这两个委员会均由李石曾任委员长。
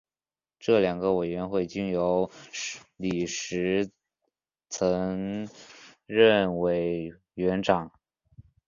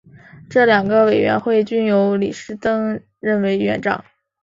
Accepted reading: second